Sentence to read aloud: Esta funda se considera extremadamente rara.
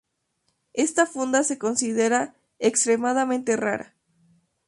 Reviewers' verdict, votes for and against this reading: rejected, 0, 2